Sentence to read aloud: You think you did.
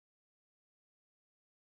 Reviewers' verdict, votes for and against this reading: rejected, 0, 2